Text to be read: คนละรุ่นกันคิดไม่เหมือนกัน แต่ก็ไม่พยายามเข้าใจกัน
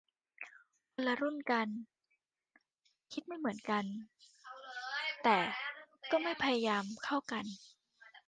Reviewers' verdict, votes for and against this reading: rejected, 0, 2